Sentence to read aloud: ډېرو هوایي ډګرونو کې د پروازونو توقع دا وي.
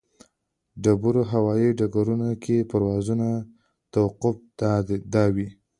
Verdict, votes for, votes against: rejected, 0, 2